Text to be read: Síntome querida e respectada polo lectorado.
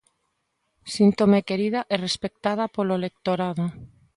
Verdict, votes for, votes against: accepted, 2, 0